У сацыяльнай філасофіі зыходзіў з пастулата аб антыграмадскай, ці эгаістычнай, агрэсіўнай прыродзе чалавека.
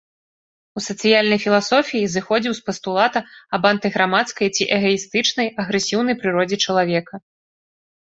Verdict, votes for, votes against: accepted, 2, 0